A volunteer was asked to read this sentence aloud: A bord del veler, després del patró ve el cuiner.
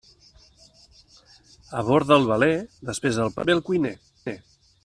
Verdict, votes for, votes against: rejected, 1, 2